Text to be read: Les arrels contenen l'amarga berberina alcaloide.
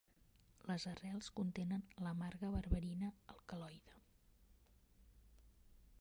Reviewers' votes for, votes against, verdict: 0, 2, rejected